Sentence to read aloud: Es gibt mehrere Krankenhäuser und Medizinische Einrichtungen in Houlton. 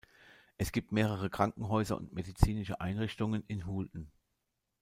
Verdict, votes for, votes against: rejected, 1, 2